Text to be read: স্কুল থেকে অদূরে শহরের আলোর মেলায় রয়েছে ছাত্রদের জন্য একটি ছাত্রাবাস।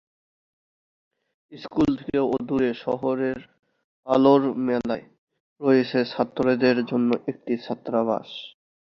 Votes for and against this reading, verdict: 2, 1, accepted